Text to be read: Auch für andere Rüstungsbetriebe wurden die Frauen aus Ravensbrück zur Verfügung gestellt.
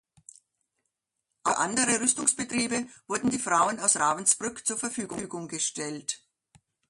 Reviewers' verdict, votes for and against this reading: rejected, 0, 2